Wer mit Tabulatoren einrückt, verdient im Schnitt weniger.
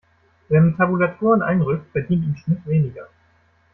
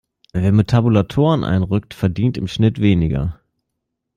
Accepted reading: second